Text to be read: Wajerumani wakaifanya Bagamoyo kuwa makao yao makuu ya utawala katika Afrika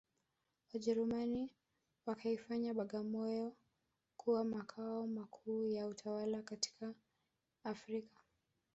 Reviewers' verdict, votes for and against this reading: accepted, 5, 1